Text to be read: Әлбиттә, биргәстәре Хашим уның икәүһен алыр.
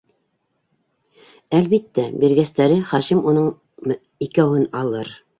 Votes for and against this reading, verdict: 0, 2, rejected